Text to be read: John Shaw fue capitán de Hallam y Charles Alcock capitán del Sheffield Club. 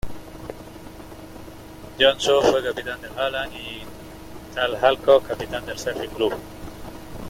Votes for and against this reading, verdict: 0, 2, rejected